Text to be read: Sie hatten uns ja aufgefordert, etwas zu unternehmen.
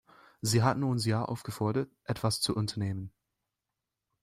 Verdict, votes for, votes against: accepted, 2, 0